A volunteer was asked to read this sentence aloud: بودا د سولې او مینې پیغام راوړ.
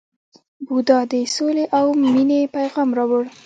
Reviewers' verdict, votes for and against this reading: rejected, 0, 2